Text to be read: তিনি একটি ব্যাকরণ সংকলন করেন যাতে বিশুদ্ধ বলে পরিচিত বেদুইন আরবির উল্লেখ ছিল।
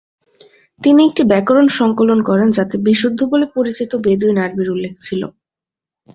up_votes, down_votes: 3, 0